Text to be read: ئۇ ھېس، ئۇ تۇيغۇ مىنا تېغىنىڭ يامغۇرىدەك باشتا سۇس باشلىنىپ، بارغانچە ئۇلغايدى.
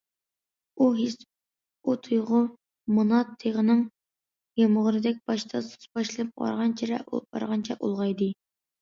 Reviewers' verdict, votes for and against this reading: rejected, 0, 2